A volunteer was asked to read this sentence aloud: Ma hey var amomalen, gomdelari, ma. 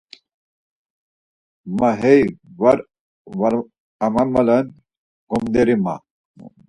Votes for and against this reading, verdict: 0, 4, rejected